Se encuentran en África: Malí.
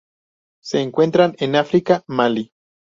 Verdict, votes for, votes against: accepted, 2, 0